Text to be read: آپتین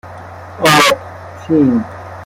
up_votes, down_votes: 1, 2